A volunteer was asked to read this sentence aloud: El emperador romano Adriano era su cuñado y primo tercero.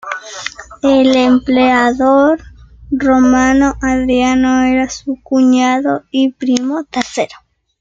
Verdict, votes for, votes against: rejected, 1, 2